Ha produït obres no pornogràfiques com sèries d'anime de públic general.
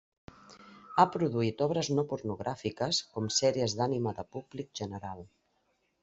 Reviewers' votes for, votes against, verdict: 0, 2, rejected